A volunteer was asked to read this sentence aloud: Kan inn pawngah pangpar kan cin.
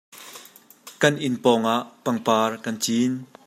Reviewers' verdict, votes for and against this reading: accepted, 2, 0